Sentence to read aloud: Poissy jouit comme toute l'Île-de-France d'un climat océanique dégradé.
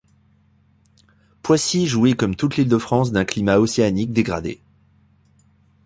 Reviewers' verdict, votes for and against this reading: accepted, 2, 0